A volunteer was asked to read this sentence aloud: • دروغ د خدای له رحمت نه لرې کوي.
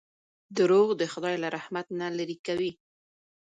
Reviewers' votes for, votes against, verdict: 0, 2, rejected